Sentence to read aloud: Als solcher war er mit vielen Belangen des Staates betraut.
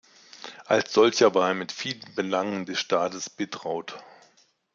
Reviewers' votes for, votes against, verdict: 2, 0, accepted